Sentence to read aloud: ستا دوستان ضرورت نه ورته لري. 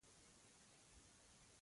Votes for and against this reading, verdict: 0, 2, rejected